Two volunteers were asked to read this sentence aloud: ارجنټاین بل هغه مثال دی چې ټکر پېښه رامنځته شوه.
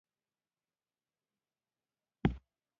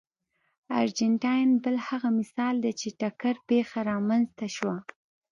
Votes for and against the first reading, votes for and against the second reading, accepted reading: 0, 2, 2, 0, second